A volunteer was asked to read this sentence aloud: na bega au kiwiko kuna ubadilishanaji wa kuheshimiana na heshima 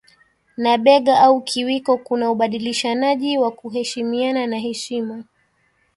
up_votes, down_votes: 1, 2